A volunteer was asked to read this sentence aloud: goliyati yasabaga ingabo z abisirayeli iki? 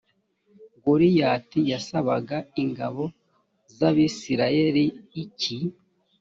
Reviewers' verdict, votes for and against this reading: accepted, 2, 1